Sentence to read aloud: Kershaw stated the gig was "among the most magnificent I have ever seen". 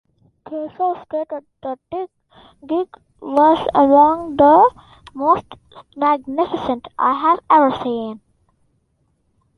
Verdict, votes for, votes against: rejected, 0, 2